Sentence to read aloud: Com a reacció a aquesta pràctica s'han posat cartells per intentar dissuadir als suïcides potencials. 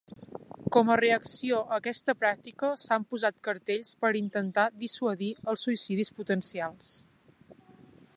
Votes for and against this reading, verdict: 0, 3, rejected